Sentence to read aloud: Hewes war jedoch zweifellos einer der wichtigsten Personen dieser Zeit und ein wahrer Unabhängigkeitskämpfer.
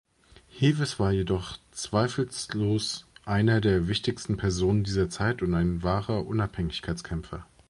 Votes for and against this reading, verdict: 0, 2, rejected